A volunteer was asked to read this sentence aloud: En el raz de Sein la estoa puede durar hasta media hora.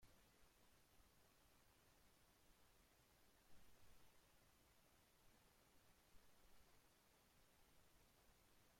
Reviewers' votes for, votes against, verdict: 0, 2, rejected